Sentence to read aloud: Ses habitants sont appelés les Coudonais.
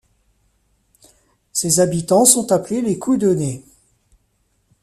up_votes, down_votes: 0, 2